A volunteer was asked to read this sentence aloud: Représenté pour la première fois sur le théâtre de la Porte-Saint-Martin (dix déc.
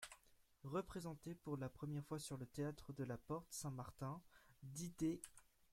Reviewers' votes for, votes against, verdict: 1, 2, rejected